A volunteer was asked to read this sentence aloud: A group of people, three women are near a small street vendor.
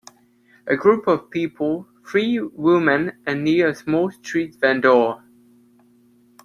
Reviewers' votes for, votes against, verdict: 0, 2, rejected